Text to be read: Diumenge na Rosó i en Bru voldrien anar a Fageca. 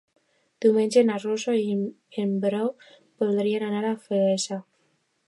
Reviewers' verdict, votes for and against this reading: rejected, 1, 2